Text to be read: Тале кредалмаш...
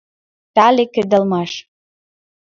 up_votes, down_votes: 1, 2